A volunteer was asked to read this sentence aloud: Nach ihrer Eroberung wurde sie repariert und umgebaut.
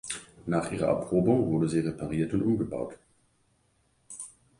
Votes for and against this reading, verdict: 1, 2, rejected